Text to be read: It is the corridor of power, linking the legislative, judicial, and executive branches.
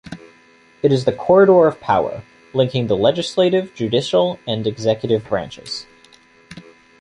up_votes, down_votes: 2, 0